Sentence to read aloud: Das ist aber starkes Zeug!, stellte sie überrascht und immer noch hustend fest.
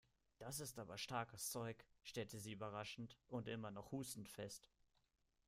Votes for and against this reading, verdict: 0, 2, rejected